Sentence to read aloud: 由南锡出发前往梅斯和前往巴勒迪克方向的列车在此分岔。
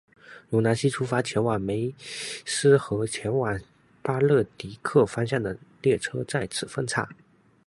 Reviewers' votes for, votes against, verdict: 0, 2, rejected